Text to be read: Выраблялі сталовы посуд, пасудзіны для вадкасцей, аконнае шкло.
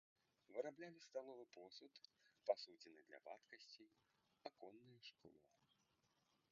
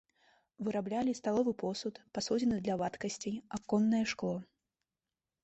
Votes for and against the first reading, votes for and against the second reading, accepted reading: 1, 2, 2, 0, second